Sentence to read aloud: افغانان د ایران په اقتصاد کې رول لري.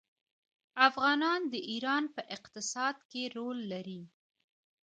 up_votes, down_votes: 0, 2